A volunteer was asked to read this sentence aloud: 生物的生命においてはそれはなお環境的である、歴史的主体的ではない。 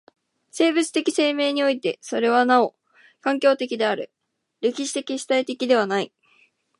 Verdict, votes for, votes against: accepted, 3, 0